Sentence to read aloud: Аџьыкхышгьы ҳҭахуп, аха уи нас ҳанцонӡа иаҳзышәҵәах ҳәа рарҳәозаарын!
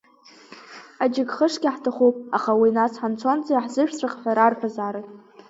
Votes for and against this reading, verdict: 5, 0, accepted